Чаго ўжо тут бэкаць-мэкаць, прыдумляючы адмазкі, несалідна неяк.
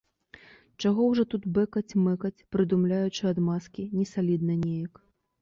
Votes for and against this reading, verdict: 2, 0, accepted